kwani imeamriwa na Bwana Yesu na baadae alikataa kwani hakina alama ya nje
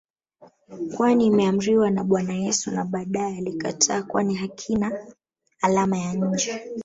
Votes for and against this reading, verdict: 1, 2, rejected